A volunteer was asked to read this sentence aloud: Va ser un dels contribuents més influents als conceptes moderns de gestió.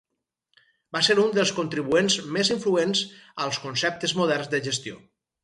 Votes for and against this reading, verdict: 4, 0, accepted